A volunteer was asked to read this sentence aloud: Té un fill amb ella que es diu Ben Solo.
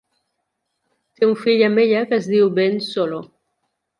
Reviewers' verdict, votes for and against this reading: accepted, 2, 0